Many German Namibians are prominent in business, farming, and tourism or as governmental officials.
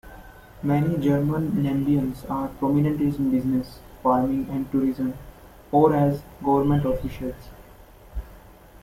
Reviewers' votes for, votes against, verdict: 1, 2, rejected